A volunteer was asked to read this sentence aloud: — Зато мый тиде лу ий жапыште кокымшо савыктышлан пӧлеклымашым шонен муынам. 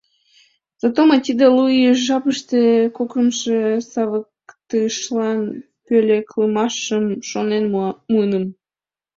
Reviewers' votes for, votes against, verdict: 0, 2, rejected